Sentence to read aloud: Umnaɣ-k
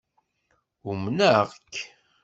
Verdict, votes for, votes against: accepted, 2, 0